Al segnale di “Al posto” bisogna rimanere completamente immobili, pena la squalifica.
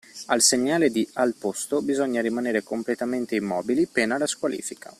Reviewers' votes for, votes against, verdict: 2, 0, accepted